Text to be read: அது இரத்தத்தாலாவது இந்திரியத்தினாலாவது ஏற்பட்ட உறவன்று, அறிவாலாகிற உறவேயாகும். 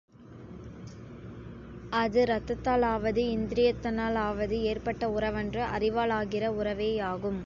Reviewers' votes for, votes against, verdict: 2, 0, accepted